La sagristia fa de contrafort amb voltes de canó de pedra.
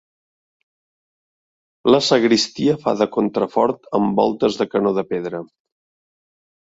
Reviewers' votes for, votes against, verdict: 2, 0, accepted